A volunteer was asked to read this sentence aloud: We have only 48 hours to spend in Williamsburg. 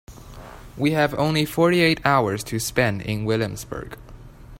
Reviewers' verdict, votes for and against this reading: rejected, 0, 2